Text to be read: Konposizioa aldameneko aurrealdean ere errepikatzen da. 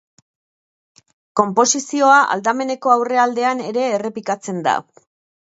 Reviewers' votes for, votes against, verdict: 2, 0, accepted